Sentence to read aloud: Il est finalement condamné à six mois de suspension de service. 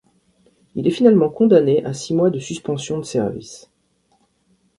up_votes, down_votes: 2, 0